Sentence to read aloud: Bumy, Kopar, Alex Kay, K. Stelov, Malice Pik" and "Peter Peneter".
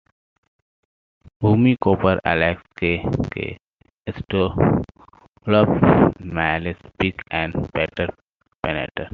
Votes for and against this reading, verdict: 2, 1, accepted